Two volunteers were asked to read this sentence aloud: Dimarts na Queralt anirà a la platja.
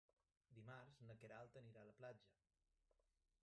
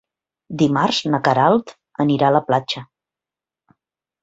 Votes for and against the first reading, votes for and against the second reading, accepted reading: 1, 2, 2, 0, second